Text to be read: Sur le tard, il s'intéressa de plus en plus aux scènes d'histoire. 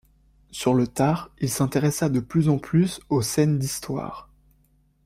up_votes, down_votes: 2, 0